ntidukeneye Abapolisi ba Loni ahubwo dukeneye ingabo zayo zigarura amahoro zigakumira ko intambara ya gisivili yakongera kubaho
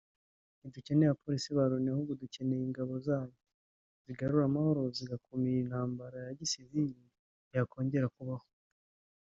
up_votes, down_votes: 1, 2